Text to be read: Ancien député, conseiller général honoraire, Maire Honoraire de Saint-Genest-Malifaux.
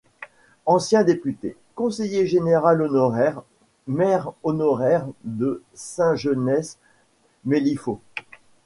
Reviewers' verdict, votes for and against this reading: rejected, 0, 2